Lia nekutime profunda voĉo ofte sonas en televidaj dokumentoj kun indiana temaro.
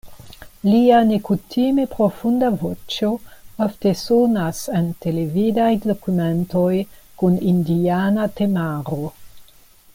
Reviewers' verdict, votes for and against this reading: accepted, 2, 0